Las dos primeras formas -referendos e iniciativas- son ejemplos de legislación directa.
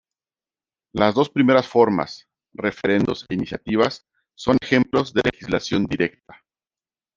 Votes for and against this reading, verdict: 1, 2, rejected